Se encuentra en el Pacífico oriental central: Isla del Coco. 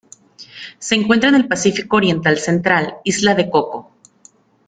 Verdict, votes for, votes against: rejected, 0, 2